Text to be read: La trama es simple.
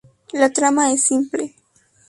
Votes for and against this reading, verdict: 2, 0, accepted